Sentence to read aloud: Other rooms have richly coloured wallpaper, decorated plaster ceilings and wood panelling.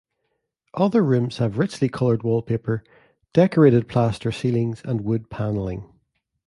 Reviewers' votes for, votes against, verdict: 2, 0, accepted